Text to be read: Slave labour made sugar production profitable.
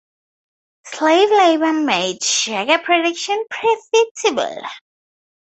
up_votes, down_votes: 2, 0